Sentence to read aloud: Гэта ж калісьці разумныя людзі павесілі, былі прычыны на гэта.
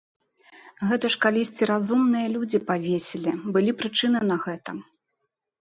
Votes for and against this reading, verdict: 2, 0, accepted